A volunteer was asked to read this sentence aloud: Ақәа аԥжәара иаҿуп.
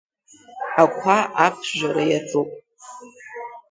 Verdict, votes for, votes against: rejected, 0, 2